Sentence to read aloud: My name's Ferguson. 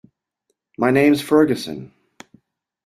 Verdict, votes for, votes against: accepted, 2, 0